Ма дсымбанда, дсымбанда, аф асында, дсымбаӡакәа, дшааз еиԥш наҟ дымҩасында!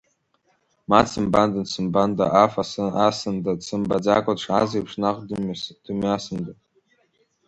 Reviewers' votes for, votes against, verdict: 0, 2, rejected